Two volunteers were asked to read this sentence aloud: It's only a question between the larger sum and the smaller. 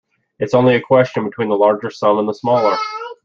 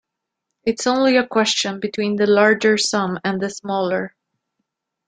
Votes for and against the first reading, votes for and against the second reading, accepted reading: 0, 2, 2, 0, second